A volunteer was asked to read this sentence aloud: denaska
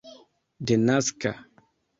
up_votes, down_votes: 2, 0